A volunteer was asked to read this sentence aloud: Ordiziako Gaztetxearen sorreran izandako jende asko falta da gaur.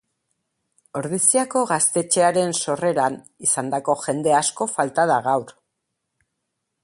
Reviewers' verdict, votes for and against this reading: accepted, 4, 0